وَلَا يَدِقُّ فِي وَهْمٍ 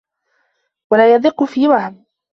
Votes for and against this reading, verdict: 0, 2, rejected